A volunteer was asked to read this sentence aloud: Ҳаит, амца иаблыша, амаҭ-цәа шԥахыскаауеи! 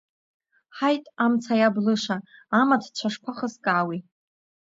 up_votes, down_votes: 2, 0